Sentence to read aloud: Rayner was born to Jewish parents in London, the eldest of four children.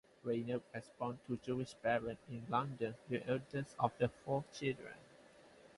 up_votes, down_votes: 0, 4